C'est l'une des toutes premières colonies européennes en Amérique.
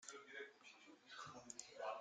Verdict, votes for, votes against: rejected, 0, 2